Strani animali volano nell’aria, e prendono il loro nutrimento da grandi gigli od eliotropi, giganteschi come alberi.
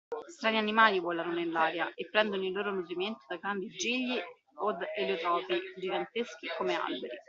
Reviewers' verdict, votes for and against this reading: accepted, 2, 1